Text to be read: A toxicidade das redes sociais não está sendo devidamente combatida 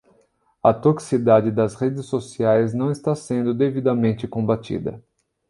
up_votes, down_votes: 0, 2